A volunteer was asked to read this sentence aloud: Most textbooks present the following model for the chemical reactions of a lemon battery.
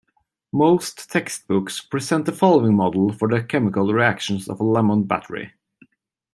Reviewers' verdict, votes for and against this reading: accepted, 2, 0